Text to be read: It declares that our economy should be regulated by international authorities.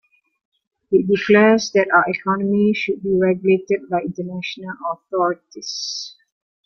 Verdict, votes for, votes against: accepted, 2, 0